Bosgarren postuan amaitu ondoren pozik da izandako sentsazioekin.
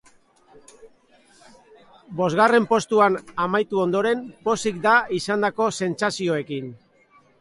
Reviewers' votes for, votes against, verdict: 2, 0, accepted